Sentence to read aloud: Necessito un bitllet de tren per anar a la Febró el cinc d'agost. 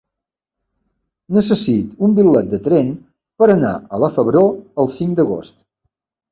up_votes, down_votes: 0, 2